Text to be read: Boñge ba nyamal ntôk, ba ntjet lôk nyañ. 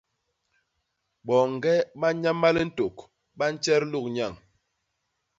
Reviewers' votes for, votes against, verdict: 0, 2, rejected